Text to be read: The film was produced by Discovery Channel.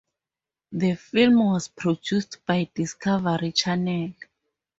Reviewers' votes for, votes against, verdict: 4, 0, accepted